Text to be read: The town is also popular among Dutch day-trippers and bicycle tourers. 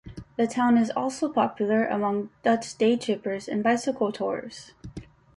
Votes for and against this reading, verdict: 2, 0, accepted